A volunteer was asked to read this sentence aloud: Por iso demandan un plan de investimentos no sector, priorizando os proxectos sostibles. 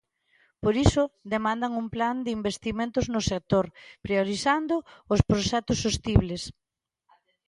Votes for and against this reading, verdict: 2, 0, accepted